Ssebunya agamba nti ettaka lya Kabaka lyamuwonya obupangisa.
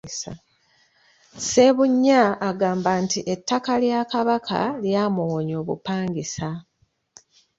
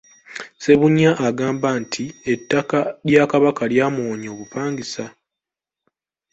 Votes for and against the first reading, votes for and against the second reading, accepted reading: 1, 2, 2, 1, second